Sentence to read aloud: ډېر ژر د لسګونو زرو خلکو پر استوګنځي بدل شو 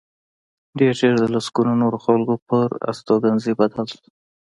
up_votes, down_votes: 2, 0